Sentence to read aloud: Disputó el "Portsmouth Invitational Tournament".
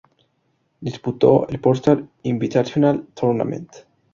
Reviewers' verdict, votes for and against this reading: rejected, 2, 2